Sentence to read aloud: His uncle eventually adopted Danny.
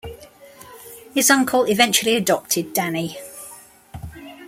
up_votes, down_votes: 3, 1